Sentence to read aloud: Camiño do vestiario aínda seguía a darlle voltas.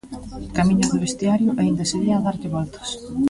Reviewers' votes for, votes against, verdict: 2, 0, accepted